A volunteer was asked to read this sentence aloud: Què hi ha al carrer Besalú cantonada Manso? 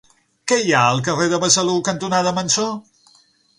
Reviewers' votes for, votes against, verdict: 0, 6, rejected